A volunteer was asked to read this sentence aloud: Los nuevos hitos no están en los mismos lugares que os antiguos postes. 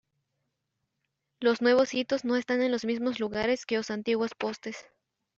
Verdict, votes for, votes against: accepted, 2, 1